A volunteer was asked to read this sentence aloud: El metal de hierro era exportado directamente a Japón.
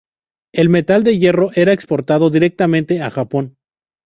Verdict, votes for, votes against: accepted, 2, 0